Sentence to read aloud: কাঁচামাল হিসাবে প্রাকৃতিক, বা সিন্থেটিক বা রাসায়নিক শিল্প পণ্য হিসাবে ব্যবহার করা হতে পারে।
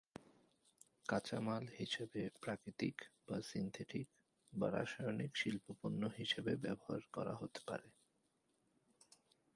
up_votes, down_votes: 1, 3